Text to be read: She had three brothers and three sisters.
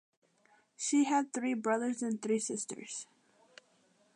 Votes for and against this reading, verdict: 2, 0, accepted